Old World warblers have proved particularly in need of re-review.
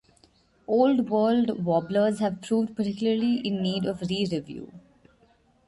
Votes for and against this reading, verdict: 2, 1, accepted